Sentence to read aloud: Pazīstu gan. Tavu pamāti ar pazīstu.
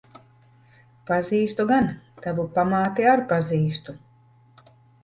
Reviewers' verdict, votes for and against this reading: accepted, 2, 0